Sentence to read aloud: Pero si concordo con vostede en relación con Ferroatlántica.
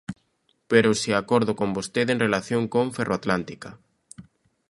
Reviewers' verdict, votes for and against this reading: rejected, 0, 2